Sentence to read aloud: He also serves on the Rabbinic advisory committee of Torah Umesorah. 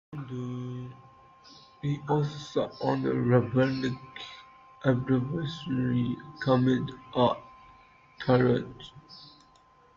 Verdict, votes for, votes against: rejected, 0, 2